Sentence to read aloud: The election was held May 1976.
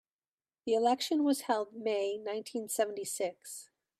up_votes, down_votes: 0, 2